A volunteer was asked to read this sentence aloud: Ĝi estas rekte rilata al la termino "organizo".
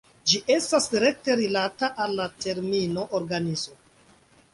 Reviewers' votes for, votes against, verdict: 2, 0, accepted